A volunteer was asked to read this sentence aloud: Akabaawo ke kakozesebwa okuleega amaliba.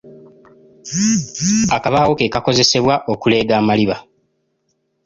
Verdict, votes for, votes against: accepted, 3, 0